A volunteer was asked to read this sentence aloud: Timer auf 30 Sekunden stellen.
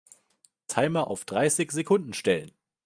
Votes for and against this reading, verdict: 0, 2, rejected